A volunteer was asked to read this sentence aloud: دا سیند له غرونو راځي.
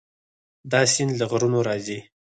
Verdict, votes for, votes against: rejected, 0, 4